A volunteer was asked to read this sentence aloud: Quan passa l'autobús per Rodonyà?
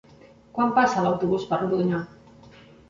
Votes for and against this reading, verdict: 3, 0, accepted